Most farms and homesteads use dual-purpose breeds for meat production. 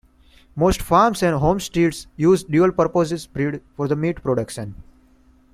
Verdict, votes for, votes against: rejected, 1, 2